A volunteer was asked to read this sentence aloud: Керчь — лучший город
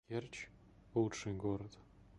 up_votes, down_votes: 2, 1